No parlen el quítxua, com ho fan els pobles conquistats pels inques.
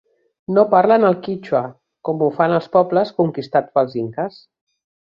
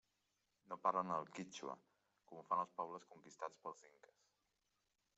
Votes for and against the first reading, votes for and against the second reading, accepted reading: 4, 0, 0, 2, first